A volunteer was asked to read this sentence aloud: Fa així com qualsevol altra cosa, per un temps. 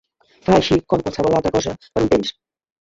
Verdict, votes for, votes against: rejected, 0, 2